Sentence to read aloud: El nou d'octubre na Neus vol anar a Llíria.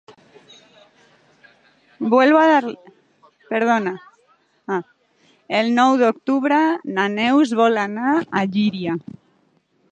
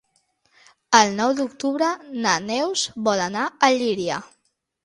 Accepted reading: second